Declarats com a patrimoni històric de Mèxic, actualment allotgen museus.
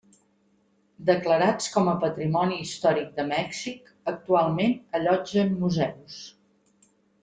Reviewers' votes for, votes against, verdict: 3, 0, accepted